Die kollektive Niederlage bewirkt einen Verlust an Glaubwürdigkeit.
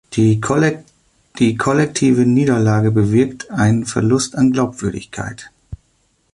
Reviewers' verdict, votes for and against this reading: rejected, 0, 2